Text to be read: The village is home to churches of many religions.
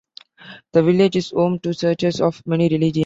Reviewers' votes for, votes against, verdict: 0, 2, rejected